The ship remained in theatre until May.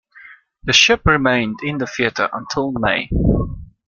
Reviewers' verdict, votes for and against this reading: accepted, 2, 0